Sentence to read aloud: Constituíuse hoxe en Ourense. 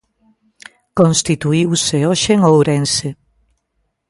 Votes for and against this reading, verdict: 2, 0, accepted